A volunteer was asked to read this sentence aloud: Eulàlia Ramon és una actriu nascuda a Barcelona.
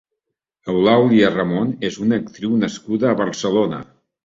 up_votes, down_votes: 3, 0